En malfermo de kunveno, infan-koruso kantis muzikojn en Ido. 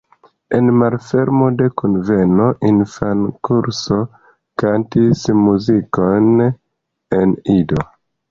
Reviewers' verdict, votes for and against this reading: rejected, 0, 2